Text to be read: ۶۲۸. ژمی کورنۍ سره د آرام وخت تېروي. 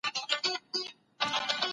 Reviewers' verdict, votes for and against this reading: rejected, 0, 2